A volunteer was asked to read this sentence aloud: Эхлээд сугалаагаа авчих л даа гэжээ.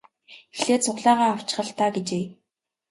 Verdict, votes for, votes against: accepted, 2, 0